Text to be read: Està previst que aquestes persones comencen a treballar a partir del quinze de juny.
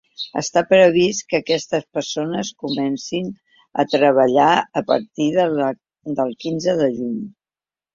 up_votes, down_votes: 1, 2